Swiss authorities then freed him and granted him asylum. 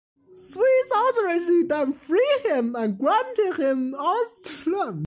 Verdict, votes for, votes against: rejected, 0, 2